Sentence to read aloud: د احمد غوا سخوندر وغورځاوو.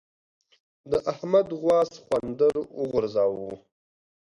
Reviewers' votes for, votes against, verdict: 2, 0, accepted